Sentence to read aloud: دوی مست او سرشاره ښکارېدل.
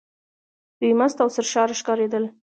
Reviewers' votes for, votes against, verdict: 1, 2, rejected